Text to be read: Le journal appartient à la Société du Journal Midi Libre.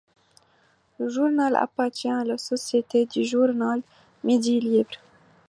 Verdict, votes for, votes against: accepted, 2, 0